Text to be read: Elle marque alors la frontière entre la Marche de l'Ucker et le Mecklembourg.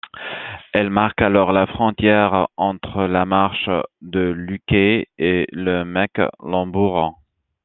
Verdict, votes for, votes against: rejected, 1, 2